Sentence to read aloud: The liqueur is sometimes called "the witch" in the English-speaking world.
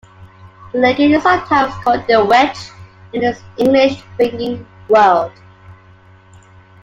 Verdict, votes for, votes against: rejected, 1, 2